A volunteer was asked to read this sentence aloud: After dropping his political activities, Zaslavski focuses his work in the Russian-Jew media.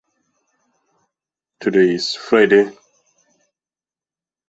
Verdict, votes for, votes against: rejected, 0, 2